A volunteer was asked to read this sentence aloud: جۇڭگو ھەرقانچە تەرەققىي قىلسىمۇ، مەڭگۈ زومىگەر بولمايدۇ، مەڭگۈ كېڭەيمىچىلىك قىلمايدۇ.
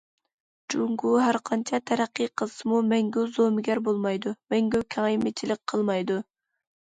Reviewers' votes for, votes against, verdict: 2, 0, accepted